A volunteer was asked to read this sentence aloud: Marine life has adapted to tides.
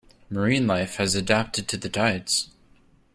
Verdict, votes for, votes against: rejected, 0, 2